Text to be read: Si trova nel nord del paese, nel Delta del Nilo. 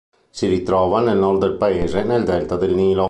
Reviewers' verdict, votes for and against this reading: rejected, 1, 2